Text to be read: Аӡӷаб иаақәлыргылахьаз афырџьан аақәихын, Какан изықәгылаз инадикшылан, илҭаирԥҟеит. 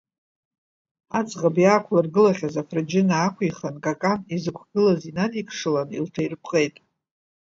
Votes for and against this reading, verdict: 0, 2, rejected